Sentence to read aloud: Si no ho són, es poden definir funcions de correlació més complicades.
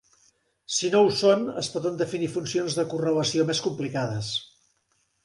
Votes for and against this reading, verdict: 3, 0, accepted